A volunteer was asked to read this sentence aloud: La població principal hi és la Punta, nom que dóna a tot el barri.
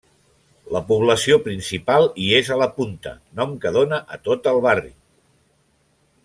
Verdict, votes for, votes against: rejected, 0, 2